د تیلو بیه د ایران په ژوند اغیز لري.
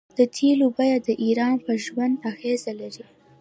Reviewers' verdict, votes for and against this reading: accepted, 2, 1